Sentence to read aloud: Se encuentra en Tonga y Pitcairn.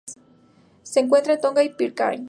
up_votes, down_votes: 4, 0